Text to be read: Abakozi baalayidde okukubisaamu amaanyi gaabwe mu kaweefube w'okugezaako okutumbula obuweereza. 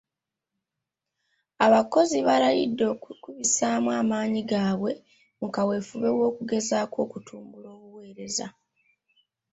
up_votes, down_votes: 1, 2